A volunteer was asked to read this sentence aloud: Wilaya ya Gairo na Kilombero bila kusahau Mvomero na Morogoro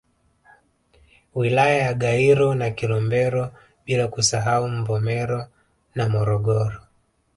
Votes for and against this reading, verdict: 1, 2, rejected